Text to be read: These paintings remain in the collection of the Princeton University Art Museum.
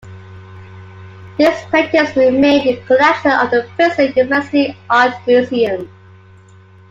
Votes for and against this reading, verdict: 2, 1, accepted